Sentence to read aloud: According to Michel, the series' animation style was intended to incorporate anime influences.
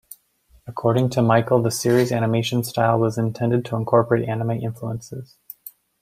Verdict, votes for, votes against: rejected, 1, 2